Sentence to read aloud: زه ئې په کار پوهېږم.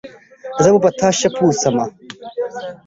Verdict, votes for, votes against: rejected, 1, 2